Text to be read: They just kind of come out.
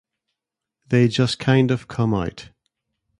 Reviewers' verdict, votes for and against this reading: accepted, 2, 0